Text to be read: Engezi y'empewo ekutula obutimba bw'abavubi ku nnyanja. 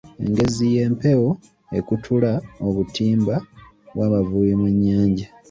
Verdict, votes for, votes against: rejected, 1, 2